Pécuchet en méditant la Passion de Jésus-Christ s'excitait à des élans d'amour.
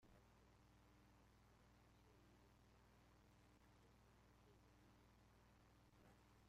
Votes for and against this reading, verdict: 0, 2, rejected